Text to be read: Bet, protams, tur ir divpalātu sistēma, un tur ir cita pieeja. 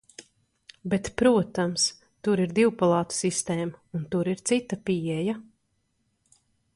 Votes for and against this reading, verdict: 2, 0, accepted